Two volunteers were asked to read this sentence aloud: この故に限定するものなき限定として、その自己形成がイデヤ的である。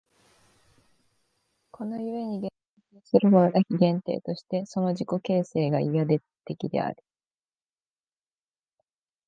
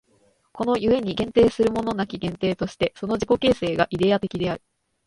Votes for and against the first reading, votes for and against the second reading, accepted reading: 2, 6, 2, 1, second